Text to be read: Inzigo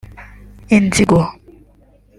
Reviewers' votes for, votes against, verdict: 2, 1, accepted